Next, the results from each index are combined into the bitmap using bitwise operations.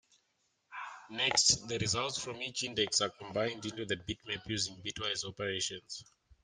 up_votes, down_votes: 2, 1